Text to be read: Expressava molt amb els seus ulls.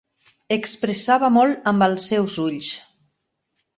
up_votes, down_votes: 5, 0